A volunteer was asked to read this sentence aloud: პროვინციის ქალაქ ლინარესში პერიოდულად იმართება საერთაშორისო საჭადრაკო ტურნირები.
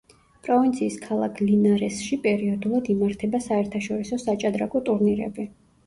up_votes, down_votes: 1, 2